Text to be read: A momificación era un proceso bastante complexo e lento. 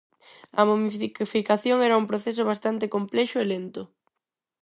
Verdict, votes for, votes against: rejected, 0, 4